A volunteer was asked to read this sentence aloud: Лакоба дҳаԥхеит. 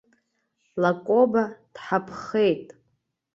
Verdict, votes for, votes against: accepted, 2, 0